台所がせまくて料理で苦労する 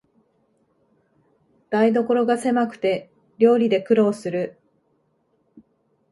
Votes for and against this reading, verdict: 4, 0, accepted